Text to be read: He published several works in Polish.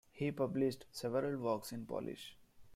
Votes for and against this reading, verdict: 2, 1, accepted